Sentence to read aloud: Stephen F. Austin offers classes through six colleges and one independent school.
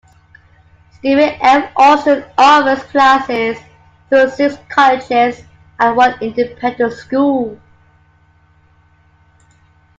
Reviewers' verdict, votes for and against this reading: accepted, 2, 0